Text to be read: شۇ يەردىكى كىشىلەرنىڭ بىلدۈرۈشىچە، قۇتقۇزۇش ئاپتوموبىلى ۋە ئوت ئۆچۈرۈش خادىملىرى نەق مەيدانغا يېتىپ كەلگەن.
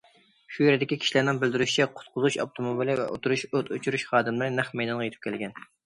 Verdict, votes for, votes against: rejected, 0, 2